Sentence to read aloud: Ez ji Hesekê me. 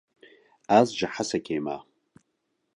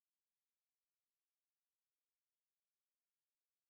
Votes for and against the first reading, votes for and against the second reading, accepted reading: 2, 0, 1, 2, first